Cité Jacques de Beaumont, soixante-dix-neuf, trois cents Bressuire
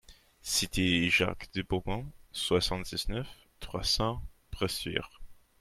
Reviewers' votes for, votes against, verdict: 2, 0, accepted